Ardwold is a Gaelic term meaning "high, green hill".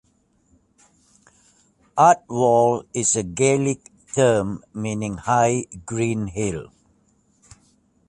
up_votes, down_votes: 3, 1